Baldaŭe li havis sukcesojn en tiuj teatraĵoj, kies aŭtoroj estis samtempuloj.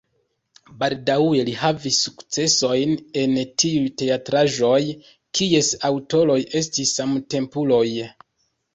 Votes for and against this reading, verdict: 2, 0, accepted